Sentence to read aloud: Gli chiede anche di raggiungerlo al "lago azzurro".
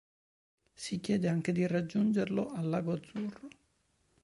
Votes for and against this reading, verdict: 1, 2, rejected